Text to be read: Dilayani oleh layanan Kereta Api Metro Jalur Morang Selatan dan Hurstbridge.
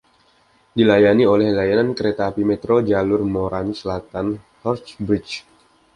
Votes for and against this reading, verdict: 1, 2, rejected